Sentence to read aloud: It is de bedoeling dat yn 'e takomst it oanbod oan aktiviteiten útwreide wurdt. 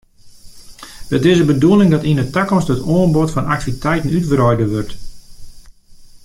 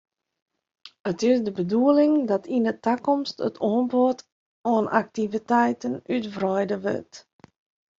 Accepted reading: second